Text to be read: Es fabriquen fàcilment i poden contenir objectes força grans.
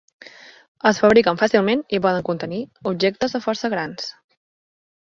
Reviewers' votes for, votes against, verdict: 1, 2, rejected